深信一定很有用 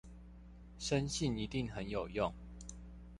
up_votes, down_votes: 2, 1